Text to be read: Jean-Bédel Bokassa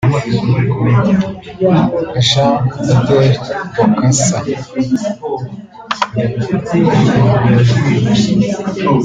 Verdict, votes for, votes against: rejected, 1, 2